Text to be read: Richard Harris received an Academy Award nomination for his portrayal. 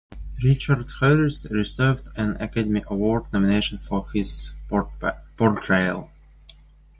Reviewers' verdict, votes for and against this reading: rejected, 0, 2